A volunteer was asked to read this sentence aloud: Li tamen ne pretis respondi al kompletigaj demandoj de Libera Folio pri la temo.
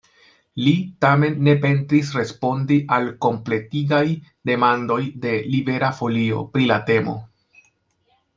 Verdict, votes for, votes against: rejected, 0, 2